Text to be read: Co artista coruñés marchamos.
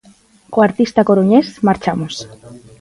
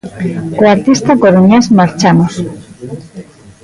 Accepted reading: first